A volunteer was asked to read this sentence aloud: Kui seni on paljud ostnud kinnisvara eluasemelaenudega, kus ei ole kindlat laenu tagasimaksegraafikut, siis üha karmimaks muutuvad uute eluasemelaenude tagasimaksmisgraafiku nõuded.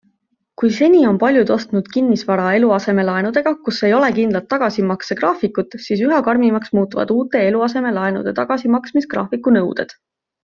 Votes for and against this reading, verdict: 2, 1, accepted